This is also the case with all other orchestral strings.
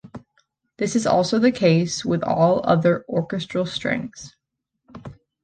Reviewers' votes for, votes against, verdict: 2, 0, accepted